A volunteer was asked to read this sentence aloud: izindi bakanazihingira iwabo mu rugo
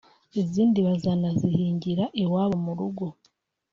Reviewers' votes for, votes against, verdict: 0, 2, rejected